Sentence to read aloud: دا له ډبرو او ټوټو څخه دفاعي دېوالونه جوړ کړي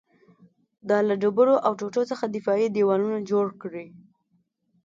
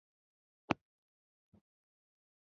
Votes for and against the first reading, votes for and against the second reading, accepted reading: 2, 0, 0, 2, first